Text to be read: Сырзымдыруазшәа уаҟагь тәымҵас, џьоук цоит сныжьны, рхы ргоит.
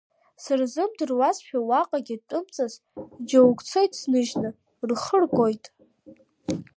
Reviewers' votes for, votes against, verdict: 2, 1, accepted